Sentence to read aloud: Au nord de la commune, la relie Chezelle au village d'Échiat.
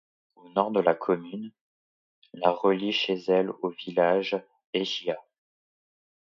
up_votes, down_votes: 1, 2